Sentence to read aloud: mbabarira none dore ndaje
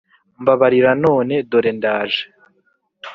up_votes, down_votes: 4, 0